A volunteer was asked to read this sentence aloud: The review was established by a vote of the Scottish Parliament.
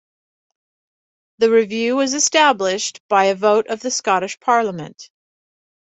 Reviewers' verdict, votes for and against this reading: accepted, 2, 0